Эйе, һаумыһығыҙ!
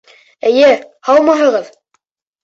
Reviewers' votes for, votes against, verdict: 2, 0, accepted